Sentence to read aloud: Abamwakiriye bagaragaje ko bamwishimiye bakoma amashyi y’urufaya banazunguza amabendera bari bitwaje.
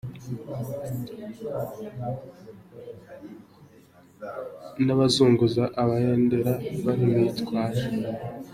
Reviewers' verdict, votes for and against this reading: rejected, 0, 2